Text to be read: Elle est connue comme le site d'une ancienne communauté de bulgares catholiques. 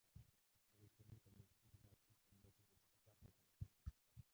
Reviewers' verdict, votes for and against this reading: rejected, 0, 2